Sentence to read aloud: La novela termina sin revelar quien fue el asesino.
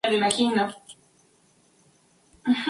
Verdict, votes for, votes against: rejected, 0, 2